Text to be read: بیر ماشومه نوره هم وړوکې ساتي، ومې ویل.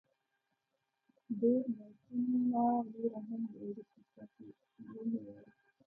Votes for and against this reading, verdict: 0, 2, rejected